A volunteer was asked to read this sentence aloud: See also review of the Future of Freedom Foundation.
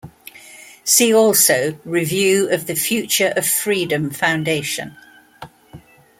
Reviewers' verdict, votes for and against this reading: accepted, 2, 0